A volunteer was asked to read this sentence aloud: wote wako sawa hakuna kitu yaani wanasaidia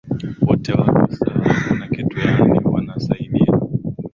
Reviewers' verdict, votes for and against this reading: rejected, 2, 3